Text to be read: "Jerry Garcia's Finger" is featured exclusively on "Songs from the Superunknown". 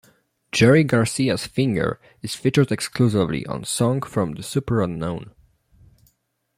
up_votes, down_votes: 1, 2